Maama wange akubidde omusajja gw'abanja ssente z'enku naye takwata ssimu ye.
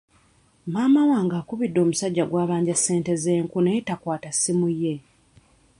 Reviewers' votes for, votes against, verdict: 2, 1, accepted